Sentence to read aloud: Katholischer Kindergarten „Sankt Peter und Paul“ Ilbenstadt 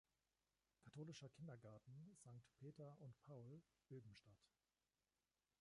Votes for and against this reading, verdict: 1, 2, rejected